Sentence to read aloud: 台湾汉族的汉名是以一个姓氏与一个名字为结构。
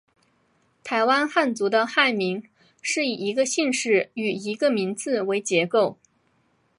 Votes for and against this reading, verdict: 2, 0, accepted